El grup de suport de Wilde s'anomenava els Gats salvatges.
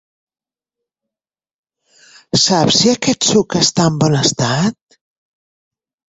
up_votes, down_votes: 0, 2